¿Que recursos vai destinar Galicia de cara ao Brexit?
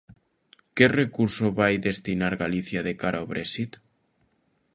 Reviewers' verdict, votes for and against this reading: rejected, 1, 2